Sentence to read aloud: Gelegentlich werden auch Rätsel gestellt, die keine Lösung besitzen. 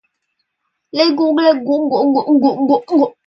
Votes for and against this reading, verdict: 0, 2, rejected